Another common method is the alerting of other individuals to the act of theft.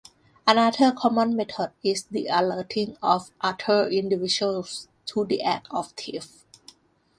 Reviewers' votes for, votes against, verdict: 1, 2, rejected